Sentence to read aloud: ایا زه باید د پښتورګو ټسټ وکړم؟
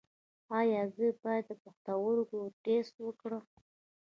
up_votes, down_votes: 0, 2